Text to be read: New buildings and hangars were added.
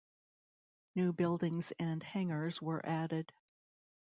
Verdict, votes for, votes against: accepted, 2, 1